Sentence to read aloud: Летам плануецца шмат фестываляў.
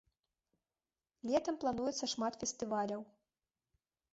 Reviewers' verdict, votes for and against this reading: accepted, 2, 0